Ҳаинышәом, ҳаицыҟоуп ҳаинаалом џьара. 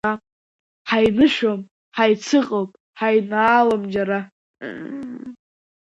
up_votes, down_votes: 1, 2